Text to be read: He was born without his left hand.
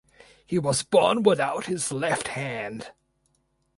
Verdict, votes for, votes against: accepted, 4, 0